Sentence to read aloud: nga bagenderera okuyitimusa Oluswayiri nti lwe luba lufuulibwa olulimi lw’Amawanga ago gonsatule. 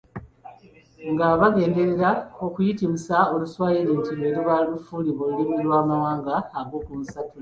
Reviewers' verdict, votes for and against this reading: accepted, 2, 1